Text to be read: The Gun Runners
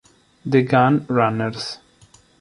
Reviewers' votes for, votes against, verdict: 2, 0, accepted